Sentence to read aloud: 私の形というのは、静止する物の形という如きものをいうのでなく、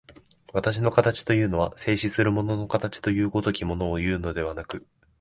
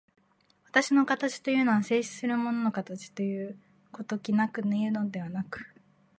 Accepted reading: first